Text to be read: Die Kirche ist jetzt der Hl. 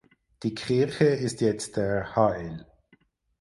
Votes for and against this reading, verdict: 0, 4, rejected